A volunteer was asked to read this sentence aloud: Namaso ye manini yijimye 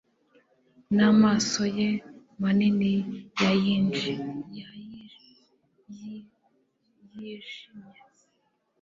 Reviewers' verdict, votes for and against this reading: rejected, 1, 2